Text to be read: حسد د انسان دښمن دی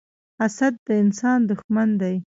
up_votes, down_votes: 1, 2